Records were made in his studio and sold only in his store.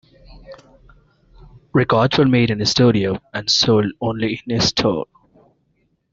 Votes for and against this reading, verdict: 2, 1, accepted